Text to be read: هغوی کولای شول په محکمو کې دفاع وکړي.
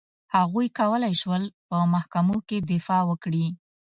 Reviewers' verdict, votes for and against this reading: accepted, 2, 0